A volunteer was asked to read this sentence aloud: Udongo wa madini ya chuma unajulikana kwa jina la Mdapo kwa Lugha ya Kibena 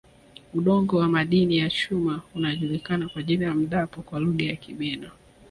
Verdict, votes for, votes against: accepted, 2, 0